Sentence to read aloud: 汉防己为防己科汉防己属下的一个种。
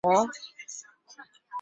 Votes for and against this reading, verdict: 0, 3, rejected